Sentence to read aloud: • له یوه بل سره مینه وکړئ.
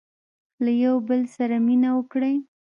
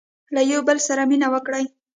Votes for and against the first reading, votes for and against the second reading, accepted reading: 1, 2, 2, 0, second